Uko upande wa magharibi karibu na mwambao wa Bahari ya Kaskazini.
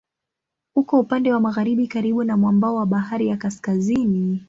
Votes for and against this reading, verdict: 2, 0, accepted